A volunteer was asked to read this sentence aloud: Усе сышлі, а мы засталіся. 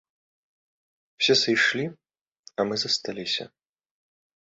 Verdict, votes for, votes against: rejected, 0, 2